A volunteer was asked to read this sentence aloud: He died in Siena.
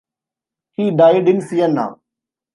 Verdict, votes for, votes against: accepted, 2, 0